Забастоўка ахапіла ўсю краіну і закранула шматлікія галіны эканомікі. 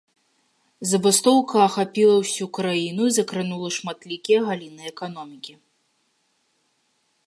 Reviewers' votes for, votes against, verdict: 2, 1, accepted